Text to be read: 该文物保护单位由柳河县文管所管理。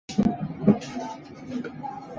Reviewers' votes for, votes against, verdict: 1, 4, rejected